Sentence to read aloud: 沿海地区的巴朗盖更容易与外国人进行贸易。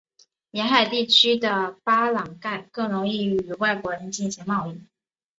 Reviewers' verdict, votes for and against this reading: accepted, 5, 1